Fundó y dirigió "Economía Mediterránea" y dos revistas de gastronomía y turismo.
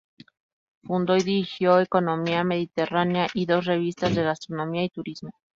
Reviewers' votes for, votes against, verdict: 4, 0, accepted